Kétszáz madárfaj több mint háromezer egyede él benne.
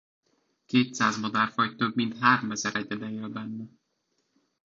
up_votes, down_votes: 1, 2